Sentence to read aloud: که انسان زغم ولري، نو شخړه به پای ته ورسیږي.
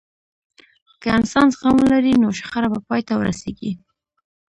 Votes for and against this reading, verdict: 1, 2, rejected